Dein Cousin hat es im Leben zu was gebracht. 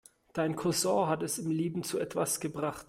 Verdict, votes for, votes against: rejected, 0, 2